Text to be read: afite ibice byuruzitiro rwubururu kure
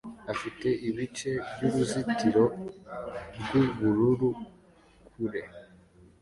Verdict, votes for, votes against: accepted, 2, 0